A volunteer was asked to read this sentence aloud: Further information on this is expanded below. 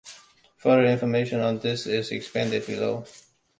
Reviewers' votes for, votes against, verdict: 0, 2, rejected